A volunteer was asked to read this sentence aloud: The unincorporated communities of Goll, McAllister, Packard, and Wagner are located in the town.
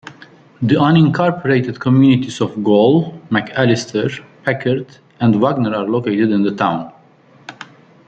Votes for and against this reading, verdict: 2, 1, accepted